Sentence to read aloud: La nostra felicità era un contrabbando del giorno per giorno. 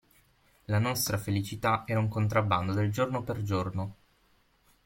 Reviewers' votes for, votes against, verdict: 6, 0, accepted